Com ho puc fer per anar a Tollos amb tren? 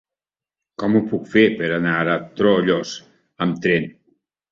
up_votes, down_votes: 1, 2